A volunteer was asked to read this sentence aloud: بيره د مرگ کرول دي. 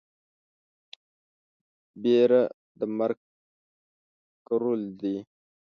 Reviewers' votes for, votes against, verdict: 0, 2, rejected